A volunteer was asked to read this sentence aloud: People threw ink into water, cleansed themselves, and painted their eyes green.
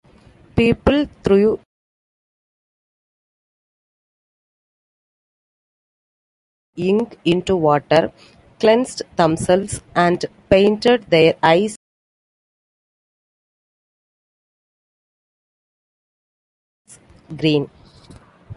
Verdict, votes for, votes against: rejected, 0, 2